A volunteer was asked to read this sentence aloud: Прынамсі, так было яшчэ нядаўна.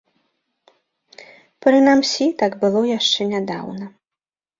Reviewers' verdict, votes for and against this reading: rejected, 0, 2